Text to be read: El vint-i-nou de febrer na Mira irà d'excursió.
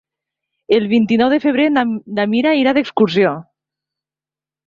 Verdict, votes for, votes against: rejected, 1, 2